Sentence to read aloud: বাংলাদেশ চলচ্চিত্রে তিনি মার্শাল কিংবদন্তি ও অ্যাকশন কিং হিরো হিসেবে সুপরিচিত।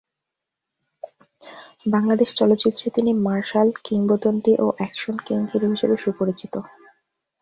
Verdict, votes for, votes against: accepted, 2, 1